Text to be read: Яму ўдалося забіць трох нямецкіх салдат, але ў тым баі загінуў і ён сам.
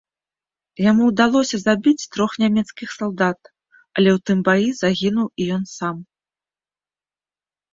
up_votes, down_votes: 2, 0